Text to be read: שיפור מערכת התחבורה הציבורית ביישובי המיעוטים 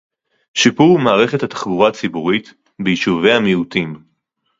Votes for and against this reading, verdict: 2, 0, accepted